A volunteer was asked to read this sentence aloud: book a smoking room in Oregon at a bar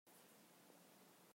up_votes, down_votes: 0, 2